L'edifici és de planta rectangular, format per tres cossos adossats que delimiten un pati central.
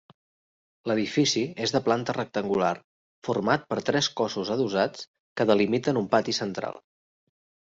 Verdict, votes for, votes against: accepted, 3, 1